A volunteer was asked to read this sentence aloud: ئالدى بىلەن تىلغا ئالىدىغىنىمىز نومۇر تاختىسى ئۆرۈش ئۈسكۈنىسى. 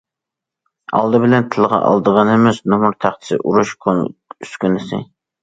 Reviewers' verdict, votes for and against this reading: rejected, 0, 2